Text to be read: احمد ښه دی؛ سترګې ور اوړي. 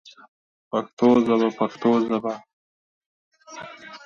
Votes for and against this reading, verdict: 1, 2, rejected